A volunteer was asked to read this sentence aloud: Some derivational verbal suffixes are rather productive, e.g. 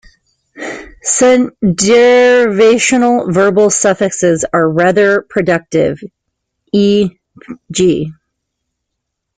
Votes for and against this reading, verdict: 0, 2, rejected